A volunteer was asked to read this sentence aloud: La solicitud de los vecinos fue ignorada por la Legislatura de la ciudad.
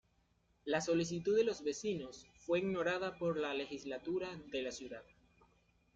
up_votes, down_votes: 2, 1